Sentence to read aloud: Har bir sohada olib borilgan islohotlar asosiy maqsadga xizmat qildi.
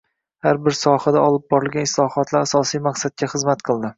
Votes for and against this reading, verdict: 2, 0, accepted